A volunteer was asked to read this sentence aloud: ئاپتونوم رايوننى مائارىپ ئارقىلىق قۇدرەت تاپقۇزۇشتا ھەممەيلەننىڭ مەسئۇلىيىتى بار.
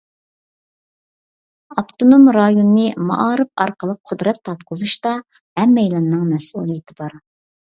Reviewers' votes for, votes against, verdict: 2, 0, accepted